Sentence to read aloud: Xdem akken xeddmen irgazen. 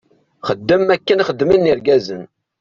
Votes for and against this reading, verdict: 1, 2, rejected